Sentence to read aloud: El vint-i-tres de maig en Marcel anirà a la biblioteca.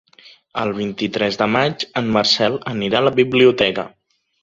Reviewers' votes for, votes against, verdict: 2, 0, accepted